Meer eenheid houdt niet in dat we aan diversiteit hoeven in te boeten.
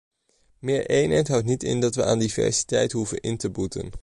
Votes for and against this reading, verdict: 2, 0, accepted